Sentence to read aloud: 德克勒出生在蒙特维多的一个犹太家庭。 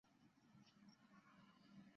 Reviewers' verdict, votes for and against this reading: rejected, 0, 2